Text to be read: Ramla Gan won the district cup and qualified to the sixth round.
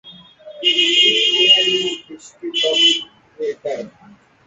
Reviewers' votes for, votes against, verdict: 0, 2, rejected